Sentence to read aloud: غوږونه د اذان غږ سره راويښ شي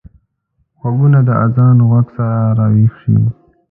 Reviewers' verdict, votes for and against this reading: accepted, 2, 1